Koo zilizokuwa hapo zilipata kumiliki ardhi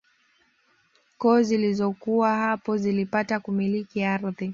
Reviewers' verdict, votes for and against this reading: accepted, 2, 0